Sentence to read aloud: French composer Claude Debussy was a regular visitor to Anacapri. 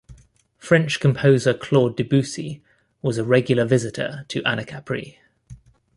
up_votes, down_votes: 2, 0